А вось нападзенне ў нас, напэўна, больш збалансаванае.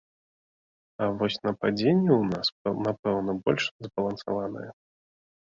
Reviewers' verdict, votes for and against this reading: rejected, 1, 2